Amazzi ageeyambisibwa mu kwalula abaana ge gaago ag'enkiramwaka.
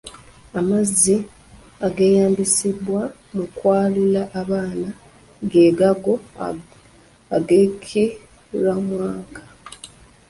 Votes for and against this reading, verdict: 2, 3, rejected